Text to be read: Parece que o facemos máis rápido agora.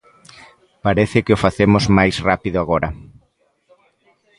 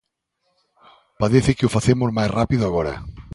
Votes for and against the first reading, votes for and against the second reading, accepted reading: 1, 2, 2, 1, second